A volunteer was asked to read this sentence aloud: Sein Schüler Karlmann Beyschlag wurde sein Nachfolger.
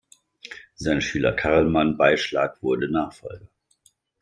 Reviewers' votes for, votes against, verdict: 1, 2, rejected